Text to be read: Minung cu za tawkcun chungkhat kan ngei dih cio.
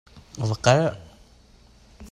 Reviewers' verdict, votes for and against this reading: rejected, 0, 2